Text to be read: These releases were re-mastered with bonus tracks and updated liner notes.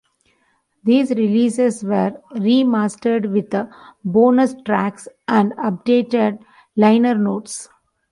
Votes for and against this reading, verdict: 0, 2, rejected